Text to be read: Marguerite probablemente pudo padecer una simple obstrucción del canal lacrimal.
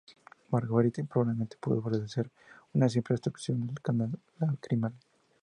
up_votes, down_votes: 0, 2